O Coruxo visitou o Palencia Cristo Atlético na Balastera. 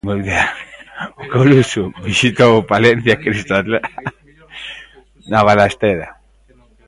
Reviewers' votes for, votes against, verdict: 0, 2, rejected